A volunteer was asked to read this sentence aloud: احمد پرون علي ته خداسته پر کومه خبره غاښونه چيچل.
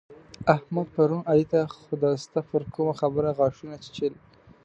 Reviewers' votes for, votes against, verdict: 2, 0, accepted